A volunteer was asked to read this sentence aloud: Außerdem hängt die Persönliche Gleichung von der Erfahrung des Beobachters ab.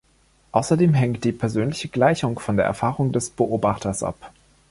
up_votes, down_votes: 2, 0